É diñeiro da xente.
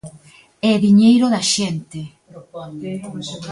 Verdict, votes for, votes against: accepted, 2, 1